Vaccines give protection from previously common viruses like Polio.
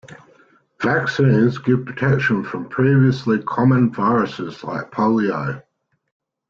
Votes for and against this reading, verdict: 2, 0, accepted